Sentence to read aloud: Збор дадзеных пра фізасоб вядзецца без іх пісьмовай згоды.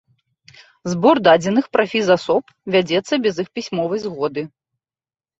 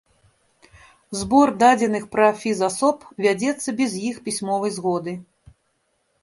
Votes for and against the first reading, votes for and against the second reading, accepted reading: 2, 0, 0, 2, first